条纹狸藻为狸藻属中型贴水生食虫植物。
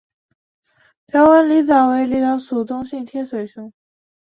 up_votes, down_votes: 0, 2